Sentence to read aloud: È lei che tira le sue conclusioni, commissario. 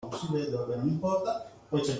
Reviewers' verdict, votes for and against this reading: rejected, 0, 2